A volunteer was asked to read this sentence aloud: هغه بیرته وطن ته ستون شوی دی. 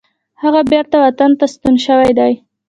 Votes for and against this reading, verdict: 1, 2, rejected